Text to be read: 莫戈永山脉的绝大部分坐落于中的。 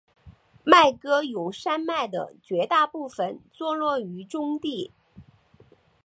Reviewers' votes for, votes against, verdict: 1, 2, rejected